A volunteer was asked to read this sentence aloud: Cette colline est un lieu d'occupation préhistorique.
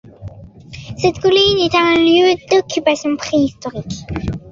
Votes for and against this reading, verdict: 2, 1, accepted